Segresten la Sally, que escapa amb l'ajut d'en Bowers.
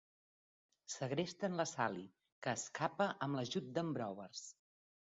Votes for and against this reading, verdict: 0, 2, rejected